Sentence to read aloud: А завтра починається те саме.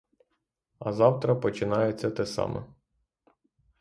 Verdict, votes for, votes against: rejected, 3, 3